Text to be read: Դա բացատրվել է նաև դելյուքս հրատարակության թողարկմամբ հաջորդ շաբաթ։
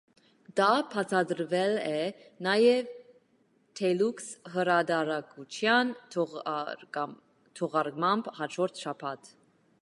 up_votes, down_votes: 0, 2